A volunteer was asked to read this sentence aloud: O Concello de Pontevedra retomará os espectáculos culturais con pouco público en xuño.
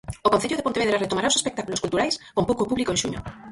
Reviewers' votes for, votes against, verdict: 0, 4, rejected